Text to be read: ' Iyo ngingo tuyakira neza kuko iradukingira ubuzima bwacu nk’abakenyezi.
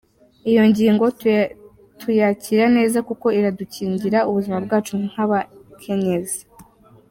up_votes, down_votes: 1, 2